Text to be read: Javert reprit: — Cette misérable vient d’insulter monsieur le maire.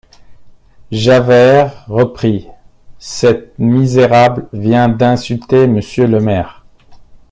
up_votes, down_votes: 2, 0